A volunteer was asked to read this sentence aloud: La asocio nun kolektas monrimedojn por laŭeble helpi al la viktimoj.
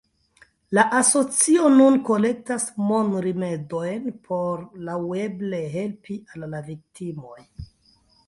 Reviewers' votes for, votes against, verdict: 0, 2, rejected